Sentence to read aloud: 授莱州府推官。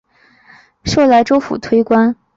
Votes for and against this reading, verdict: 2, 0, accepted